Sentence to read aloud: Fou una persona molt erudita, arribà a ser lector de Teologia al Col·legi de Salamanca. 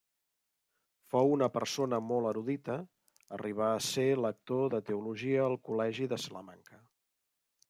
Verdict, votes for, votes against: accepted, 2, 1